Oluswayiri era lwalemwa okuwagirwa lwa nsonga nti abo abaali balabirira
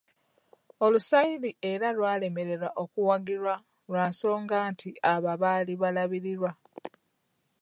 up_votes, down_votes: 0, 2